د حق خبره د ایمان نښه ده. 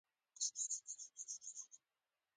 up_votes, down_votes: 0, 2